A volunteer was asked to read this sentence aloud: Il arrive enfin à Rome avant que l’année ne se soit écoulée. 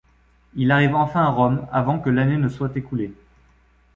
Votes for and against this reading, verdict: 1, 2, rejected